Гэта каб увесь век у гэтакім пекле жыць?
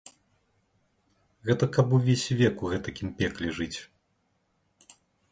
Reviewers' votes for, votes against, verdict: 2, 0, accepted